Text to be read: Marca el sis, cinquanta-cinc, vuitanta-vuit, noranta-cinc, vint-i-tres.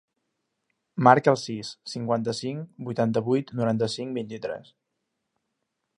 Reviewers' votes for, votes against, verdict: 3, 0, accepted